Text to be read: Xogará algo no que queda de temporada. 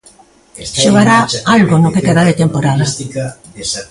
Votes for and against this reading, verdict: 2, 0, accepted